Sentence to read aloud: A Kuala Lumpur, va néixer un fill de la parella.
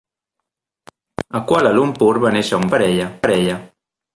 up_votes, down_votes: 0, 2